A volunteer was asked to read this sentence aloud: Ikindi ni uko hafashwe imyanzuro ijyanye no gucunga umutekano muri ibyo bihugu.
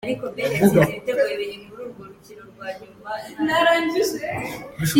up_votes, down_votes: 0, 2